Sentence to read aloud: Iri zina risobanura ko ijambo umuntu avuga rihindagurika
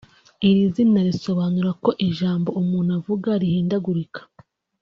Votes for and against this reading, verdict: 2, 0, accepted